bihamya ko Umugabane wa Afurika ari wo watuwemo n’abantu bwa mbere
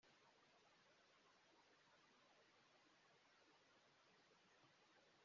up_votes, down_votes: 0, 2